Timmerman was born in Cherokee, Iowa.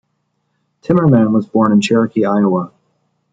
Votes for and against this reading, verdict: 2, 0, accepted